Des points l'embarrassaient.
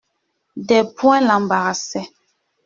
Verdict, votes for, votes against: accepted, 2, 1